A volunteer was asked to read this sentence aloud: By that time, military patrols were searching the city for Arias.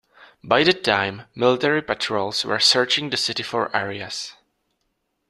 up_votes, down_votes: 2, 0